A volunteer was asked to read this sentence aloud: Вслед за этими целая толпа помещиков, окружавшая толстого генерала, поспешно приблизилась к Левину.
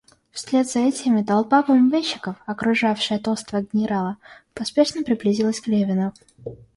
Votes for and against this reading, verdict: 0, 2, rejected